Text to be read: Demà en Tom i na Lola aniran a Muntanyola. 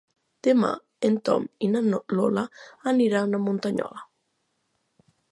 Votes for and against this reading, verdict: 0, 2, rejected